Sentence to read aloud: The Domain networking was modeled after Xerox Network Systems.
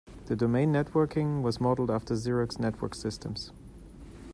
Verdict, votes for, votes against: accepted, 2, 0